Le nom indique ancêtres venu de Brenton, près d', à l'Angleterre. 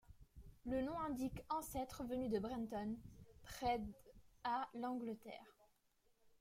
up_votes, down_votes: 2, 0